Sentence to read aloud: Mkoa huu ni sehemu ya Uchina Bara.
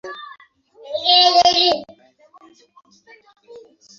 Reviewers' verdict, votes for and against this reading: rejected, 1, 6